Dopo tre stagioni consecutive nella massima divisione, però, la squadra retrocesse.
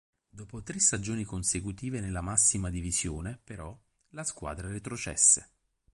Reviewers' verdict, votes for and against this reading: rejected, 2, 2